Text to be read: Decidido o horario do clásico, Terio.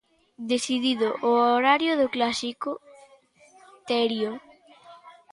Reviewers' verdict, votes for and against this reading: accepted, 2, 0